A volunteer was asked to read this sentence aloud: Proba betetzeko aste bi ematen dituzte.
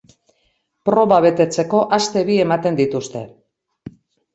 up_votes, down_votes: 2, 0